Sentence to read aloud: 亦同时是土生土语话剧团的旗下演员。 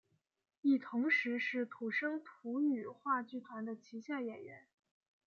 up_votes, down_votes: 0, 2